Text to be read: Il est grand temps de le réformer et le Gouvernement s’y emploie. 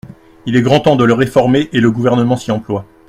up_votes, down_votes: 2, 0